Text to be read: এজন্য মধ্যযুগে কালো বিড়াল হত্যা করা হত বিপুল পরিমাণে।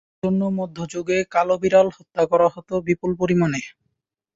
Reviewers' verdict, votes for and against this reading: rejected, 1, 2